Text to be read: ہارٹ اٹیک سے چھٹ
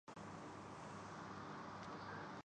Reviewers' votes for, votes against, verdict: 2, 8, rejected